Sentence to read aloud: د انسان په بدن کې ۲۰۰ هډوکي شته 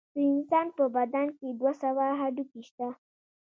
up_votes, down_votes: 0, 2